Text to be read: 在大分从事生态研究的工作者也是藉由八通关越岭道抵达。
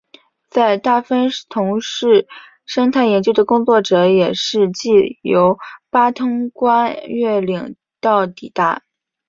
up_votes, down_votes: 2, 0